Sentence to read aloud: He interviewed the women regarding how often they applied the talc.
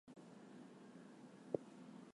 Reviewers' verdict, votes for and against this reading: rejected, 0, 4